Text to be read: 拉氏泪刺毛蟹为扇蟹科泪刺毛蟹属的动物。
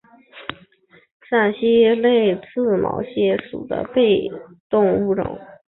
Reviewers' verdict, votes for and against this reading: rejected, 0, 2